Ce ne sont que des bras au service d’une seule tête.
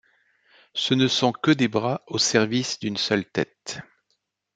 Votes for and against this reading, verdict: 2, 0, accepted